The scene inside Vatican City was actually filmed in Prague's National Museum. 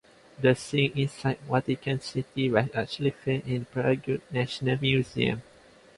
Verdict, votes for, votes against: rejected, 1, 2